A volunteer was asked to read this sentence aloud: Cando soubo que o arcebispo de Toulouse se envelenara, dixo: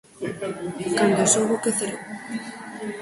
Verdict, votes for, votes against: rejected, 0, 4